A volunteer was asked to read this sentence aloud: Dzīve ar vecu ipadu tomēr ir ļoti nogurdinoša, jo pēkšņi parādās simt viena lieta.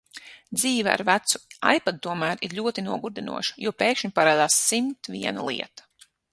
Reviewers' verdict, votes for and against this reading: accepted, 6, 0